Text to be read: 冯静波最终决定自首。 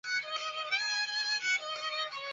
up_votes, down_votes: 0, 2